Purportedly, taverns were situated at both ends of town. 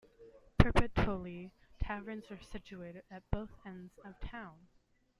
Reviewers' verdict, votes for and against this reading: rejected, 1, 2